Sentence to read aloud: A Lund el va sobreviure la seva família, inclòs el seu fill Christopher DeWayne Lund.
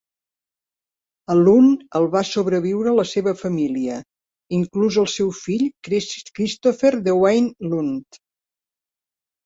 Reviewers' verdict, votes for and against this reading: rejected, 0, 2